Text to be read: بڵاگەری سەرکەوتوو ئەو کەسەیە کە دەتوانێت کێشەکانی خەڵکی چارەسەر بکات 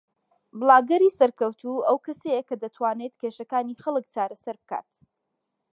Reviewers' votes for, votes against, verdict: 1, 2, rejected